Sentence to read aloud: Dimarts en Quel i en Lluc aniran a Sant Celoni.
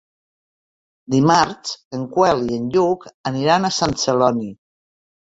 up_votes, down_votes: 1, 2